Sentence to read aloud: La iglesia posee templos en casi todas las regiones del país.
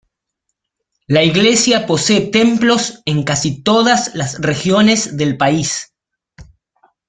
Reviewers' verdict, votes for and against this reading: accepted, 2, 0